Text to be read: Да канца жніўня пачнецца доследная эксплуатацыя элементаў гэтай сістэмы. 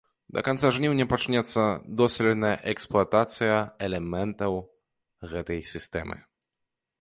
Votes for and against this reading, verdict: 0, 2, rejected